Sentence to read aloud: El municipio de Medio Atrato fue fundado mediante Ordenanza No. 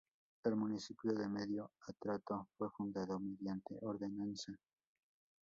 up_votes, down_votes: 0, 2